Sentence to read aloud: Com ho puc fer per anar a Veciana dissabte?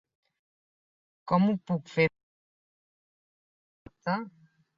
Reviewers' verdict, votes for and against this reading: rejected, 0, 2